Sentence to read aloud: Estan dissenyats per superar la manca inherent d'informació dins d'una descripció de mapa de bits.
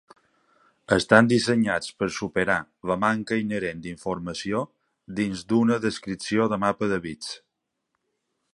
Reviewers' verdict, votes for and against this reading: accepted, 2, 0